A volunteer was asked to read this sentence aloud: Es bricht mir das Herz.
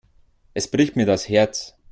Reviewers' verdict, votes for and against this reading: accepted, 2, 0